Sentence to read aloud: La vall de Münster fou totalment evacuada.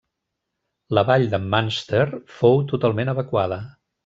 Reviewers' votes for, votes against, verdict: 0, 2, rejected